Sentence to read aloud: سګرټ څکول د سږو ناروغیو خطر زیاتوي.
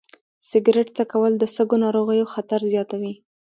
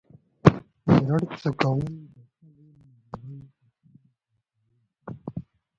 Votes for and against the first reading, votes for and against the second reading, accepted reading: 2, 0, 1, 2, first